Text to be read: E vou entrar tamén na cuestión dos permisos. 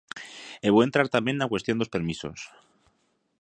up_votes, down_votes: 2, 0